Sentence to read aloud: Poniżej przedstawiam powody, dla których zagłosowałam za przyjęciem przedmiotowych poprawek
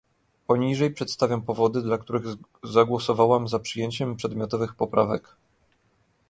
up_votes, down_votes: 1, 2